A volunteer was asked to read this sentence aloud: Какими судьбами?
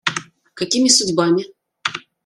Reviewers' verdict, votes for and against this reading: accepted, 2, 0